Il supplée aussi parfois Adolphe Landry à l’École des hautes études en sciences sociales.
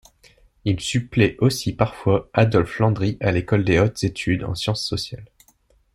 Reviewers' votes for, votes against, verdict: 2, 0, accepted